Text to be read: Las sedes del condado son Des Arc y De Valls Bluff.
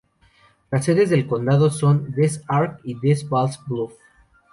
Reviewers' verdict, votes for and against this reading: rejected, 0, 2